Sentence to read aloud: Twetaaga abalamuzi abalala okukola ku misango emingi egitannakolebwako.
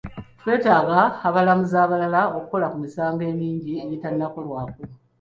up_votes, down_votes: 2, 1